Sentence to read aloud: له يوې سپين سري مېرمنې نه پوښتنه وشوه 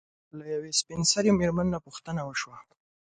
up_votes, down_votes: 2, 0